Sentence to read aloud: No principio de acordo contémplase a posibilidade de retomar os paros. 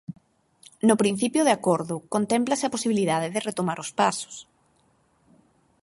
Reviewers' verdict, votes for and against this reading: rejected, 0, 4